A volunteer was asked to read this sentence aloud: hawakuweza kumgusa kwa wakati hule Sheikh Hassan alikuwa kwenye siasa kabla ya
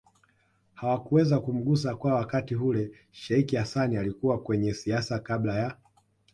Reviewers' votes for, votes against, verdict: 1, 2, rejected